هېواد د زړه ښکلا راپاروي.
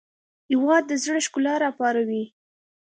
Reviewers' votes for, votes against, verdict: 2, 0, accepted